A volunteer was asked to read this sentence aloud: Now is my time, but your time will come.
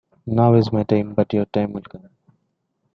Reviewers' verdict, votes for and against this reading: rejected, 0, 2